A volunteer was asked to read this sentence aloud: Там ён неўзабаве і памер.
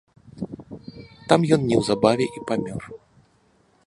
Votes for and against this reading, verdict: 1, 2, rejected